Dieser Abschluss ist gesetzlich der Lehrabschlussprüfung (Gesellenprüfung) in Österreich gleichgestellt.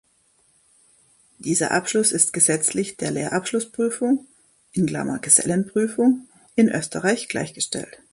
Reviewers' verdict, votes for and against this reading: rejected, 1, 2